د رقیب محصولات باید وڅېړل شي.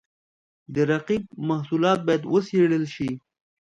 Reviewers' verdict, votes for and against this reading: accepted, 2, 0